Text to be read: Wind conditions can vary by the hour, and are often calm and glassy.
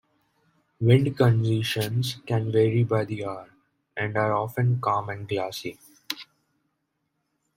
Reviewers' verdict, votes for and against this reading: accepted, 2, 0